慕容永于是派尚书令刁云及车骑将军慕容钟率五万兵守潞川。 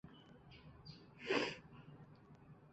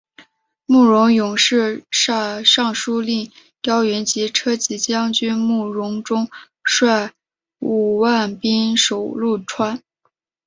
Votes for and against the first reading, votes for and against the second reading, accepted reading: 2, 3, 2, 0, second